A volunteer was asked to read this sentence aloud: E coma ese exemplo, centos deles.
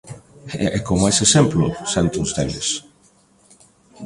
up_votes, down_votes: 1, 2